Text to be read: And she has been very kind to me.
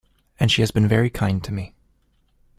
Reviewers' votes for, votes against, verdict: 2, 0, accepted